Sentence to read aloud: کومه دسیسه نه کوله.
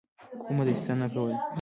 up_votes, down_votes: 2, 0